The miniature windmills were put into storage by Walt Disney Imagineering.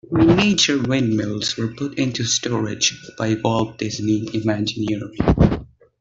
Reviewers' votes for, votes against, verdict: 2, 1, accepted